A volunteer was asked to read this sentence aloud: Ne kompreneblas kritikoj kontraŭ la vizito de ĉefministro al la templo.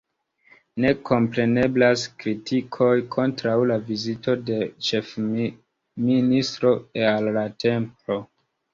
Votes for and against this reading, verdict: 2, 1, accepted